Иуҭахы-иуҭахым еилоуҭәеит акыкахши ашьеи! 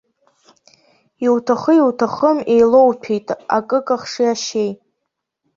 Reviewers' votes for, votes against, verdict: 2, 1, accepted